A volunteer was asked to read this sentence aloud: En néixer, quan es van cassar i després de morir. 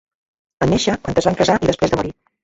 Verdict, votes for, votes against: rejected, 0, 3